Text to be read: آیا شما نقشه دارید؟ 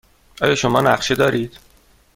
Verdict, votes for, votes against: accepted, 2, 0